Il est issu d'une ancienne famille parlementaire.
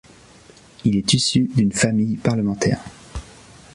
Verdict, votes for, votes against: rejected, 0, 2